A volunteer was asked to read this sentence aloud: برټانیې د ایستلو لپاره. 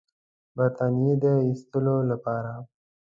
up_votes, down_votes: 2, 0